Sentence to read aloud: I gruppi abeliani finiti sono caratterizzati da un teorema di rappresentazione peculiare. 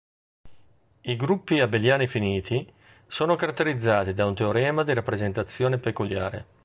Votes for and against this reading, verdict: 2, 0, accepted